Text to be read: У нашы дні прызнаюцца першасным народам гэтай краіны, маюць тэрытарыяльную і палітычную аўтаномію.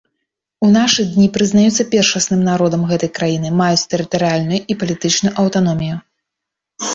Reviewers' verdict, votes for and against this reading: accepted, 2, 0